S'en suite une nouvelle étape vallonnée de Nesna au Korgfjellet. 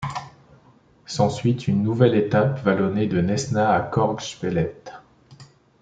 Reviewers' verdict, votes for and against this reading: accepted, 2, 0